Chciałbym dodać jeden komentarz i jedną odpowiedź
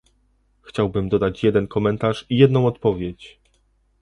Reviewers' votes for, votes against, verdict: 2, 0, accepted